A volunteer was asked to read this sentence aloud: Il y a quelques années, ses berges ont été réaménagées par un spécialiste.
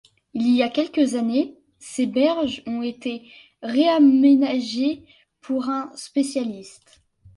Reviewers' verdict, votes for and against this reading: rejected, 0, 2